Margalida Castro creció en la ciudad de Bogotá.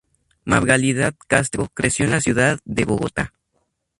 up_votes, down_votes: 2, 0